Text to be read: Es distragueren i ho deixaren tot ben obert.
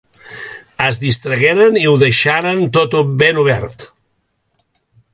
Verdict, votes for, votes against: rejected, 0, 2